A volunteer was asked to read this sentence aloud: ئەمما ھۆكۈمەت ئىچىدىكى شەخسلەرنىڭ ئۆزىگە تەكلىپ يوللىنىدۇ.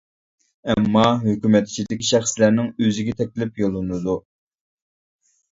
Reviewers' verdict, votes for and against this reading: accepted, 2, 0